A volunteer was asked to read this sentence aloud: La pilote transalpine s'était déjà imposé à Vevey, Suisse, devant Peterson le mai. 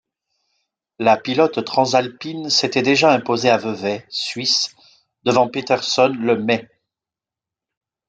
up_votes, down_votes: 1, 2